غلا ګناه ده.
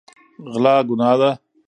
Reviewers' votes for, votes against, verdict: 2, 0, accepted